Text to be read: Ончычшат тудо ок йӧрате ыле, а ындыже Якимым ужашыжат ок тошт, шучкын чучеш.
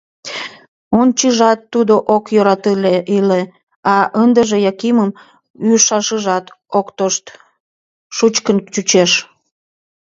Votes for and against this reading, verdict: 1, 4, rejected